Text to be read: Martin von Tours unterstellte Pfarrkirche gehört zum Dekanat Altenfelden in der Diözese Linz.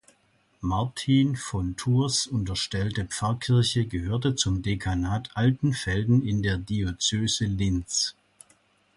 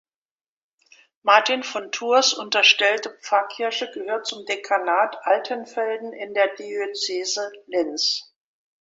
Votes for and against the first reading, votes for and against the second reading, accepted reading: 1, 2, 2, 0, second